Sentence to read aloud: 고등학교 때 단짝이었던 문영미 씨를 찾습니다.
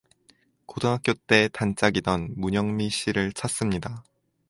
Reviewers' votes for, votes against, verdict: 2, 2, rejected